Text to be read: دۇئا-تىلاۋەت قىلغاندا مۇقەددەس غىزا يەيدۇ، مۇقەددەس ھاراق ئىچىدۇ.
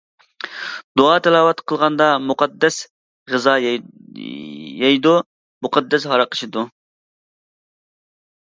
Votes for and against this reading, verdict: 0, 2, rejected